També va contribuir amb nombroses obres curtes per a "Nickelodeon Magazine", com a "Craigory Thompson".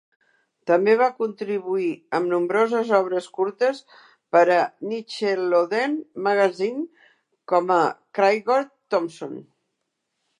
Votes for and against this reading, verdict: 0, 2, rejected